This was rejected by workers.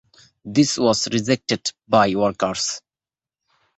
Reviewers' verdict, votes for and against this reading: rejected, 0, 2